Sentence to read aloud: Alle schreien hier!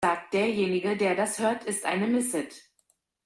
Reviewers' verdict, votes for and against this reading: rejected, 0, 2